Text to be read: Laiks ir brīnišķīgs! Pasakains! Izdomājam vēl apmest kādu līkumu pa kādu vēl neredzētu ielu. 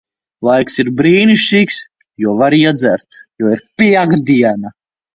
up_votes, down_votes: 0, 2